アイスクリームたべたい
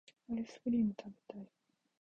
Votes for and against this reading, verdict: 1, 2, rejected